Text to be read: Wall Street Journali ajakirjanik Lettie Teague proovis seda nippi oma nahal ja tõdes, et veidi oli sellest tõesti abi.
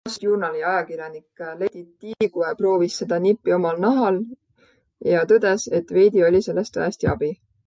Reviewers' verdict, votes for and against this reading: rejected, 1, 2